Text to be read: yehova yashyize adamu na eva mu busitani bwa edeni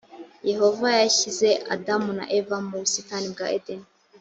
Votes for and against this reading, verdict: 2, 0, accepted